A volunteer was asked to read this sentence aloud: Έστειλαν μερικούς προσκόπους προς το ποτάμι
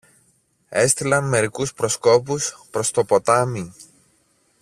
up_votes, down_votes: 2, 0